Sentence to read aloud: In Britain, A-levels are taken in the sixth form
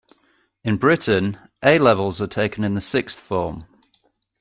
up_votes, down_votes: 2, 1